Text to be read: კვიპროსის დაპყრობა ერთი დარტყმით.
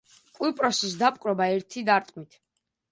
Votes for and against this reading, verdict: 2, 1, accepted